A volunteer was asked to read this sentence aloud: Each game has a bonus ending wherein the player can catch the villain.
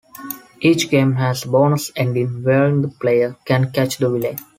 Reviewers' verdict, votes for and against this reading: rejected, 1, 2